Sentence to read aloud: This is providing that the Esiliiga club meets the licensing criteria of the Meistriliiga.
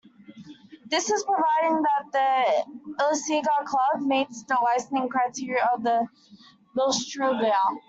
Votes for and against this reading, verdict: 1, 2, rejected